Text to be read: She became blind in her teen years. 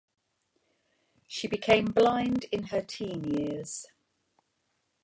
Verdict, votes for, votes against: rejected, 1, 2